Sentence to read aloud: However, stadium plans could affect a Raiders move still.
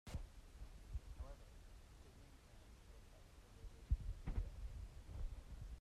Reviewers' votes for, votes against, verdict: 0, 2, rejected